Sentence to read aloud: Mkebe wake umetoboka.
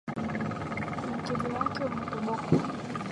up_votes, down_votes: 3, 4